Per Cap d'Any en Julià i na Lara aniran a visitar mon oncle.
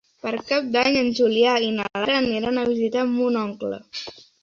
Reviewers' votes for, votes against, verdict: 2, 0, accepted